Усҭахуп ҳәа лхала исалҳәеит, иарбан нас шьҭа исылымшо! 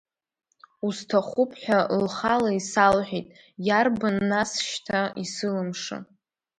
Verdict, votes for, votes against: rejected, 1, 2